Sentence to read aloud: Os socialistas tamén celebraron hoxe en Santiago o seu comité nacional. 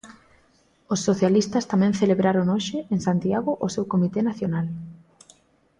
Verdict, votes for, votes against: accepted, 2, 0